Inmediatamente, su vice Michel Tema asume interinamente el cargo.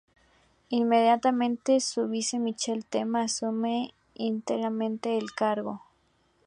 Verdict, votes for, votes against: rejected, 0, 2